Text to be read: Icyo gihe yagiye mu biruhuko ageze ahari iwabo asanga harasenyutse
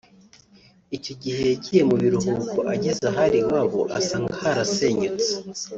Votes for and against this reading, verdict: 2, 0, accepted